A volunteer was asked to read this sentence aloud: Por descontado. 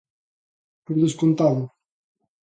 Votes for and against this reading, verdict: 2, 0, accepted